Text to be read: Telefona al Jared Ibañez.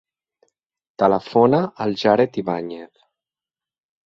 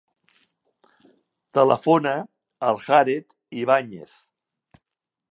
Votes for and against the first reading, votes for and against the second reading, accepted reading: 3, 0, 1, 2, first